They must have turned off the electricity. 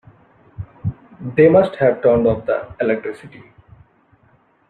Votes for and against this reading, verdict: 0, 2, rejected